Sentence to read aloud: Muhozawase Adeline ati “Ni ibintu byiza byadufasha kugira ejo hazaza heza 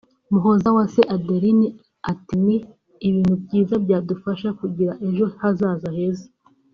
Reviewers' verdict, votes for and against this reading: accepted, 2, 0